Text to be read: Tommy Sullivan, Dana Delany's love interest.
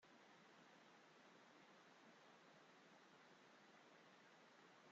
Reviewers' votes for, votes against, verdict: 0, 2, rejected